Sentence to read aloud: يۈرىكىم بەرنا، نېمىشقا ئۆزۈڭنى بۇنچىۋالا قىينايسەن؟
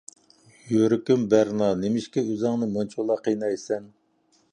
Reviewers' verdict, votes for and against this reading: rejected, 1, 2